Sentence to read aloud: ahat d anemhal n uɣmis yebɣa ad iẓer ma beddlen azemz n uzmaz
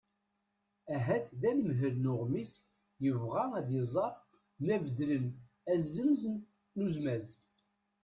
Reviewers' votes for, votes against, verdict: 0, 2, rejected